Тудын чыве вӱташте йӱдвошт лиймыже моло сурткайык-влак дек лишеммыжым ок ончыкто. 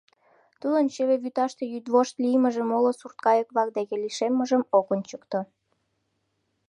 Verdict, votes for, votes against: accepted, 2, 0